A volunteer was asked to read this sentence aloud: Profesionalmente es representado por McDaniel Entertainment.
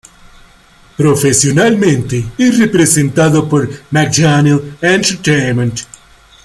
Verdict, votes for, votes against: rejected, 0, 2